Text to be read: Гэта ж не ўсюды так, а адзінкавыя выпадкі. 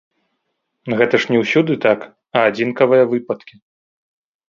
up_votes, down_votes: 0, 3